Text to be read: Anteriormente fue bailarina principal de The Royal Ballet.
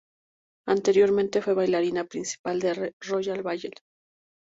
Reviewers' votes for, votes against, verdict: 0, 4, rejected